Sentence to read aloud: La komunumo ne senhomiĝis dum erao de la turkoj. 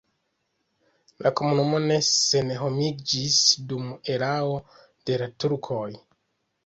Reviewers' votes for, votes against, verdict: 2, 0, accepted